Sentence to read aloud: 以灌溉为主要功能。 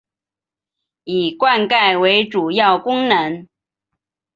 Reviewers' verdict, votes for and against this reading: accepted, 3, 0